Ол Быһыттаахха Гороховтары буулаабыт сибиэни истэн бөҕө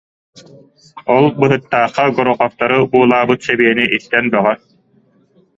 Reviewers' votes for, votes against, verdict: 1, 2, rejected